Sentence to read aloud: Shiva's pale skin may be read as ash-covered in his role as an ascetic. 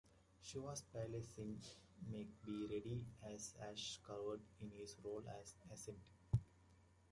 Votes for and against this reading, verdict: 0, 2, rejected